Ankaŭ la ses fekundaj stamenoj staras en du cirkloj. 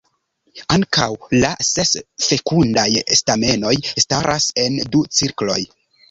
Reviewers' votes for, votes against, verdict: 1, 2, rejected